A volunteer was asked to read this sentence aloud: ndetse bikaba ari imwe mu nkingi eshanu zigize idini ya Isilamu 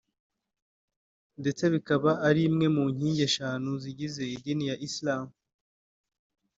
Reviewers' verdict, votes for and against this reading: accepted, 2, 0